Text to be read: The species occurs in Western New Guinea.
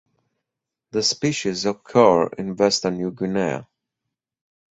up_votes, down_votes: 2, 2